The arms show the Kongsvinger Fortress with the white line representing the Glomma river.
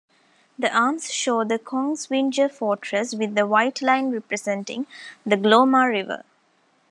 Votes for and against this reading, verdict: 2, 0, accepted